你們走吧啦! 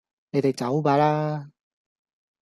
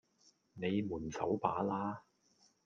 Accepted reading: second